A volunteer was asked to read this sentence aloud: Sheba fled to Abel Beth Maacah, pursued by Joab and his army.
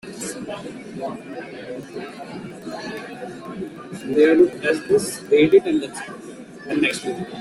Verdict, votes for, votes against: rejected, 0, 2